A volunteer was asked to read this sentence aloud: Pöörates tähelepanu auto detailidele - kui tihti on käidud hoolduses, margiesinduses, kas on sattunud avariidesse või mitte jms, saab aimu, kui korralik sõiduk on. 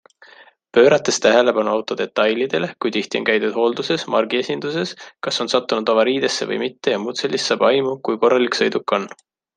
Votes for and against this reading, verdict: 2, 0, accepted